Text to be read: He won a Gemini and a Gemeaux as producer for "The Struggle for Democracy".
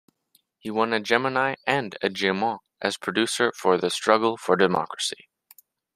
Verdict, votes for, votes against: accepted, 2, 0